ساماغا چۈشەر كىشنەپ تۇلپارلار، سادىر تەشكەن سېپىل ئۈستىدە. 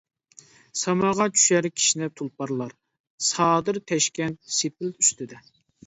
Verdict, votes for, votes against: accepted, 2, 0